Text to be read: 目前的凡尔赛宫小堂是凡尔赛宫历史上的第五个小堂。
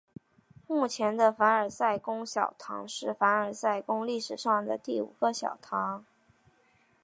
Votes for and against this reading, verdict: 2, 0, accepted